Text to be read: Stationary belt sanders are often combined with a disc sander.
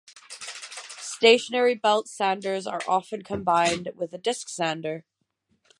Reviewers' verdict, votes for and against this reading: rejected, 3, 3